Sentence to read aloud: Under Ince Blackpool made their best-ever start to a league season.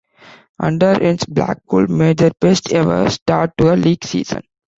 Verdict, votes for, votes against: rejected, 1, 2